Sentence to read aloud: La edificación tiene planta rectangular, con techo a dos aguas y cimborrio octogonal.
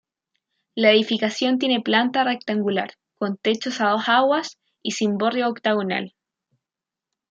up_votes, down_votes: 1, 2